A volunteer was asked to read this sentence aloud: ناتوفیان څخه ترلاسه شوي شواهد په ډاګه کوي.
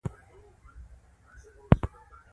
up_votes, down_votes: 1, 2